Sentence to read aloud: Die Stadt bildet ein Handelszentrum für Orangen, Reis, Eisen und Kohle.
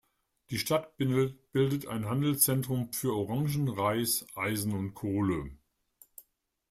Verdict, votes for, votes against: rejected, 1, 2